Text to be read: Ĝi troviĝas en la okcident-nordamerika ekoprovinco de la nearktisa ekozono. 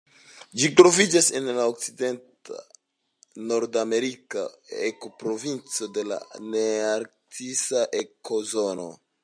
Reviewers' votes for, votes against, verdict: 2, 0, accepted